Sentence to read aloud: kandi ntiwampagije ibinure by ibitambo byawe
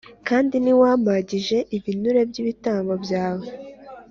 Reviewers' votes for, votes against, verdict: 3, 0, accepted